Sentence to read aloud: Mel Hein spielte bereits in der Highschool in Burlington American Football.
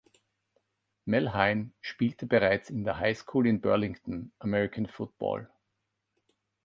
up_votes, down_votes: 2, 0